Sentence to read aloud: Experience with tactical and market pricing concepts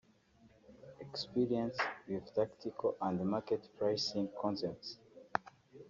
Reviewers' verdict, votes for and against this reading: rejected, 1, 2